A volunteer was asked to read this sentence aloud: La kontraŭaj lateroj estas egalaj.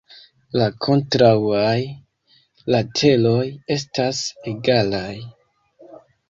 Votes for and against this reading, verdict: 1, 3, rejected